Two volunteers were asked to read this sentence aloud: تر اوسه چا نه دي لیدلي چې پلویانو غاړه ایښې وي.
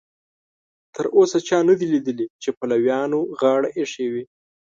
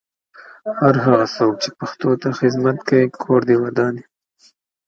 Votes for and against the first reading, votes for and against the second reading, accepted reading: 2, 0, 0, 2, first